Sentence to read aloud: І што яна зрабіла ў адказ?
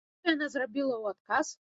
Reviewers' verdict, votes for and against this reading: rejected, 1, 2